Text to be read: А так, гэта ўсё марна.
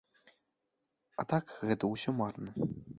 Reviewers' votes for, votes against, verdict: 3, 0, accepted